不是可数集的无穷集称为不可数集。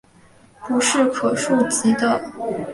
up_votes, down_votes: 1, 3